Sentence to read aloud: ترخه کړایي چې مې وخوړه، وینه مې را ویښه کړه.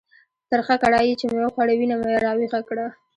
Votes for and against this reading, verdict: 2, 0, accepted